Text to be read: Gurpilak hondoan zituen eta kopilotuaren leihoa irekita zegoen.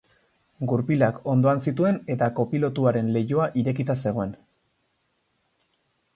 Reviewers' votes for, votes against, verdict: 2, 0, accepted